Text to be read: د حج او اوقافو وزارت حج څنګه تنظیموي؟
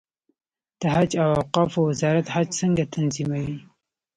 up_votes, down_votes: 2, 0